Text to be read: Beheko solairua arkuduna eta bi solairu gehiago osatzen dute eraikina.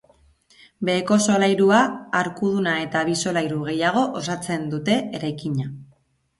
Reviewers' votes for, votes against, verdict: 2, 0, accepted